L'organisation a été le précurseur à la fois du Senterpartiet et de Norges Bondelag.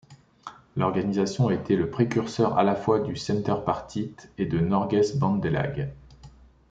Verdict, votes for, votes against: accepted, 2, 0